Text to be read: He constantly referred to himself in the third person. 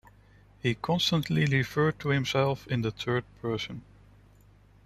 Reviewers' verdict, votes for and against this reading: accepted, 2, 0